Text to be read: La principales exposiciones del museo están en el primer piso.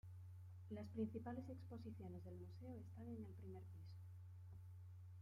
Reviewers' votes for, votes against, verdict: 1, 2, rejected